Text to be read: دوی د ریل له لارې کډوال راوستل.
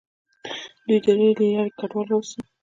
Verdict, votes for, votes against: rejected, 1, 2